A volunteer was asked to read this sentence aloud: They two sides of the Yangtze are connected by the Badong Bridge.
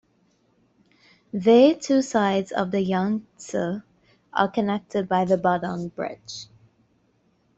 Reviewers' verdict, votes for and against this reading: rejected, 1, 2